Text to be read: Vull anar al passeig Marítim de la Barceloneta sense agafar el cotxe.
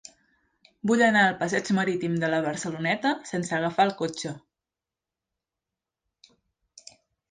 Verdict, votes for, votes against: accepted, 3, 0